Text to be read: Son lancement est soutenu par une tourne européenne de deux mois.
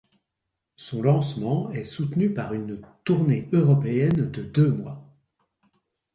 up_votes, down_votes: 1, 2